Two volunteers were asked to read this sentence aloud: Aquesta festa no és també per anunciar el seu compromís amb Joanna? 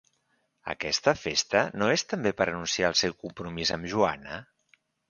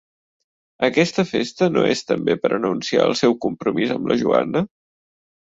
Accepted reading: first